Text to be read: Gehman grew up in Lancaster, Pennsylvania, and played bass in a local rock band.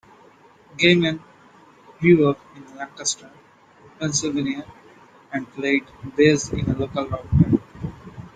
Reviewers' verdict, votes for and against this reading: accepted, 2, 1